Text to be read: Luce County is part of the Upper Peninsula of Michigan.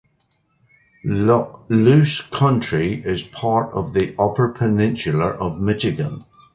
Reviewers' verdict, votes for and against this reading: rejected, 0, 2